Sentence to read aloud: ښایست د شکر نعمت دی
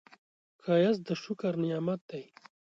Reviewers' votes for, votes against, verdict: 2, 0, accepted